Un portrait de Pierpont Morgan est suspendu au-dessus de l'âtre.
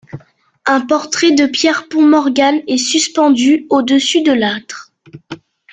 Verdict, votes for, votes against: accepted, 3, 1